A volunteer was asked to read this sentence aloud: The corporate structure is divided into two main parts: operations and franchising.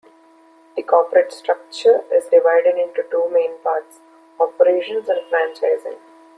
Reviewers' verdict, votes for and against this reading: accepted, 2, 0